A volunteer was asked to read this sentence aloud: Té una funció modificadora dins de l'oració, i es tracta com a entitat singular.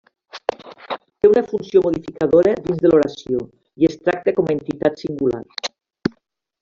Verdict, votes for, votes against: accepted, 3, 1